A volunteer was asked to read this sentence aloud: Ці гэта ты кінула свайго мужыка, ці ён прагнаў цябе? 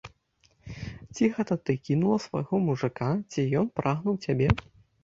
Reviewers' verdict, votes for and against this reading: rejected, 1, 2